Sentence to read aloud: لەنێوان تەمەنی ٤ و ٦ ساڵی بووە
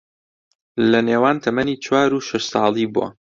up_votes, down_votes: 0, 2